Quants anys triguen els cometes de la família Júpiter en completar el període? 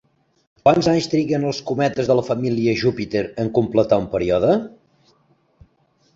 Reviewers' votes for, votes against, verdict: 2, 0, accepted